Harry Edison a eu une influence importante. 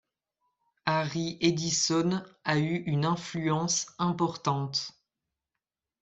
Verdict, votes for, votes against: accepted, 2, 0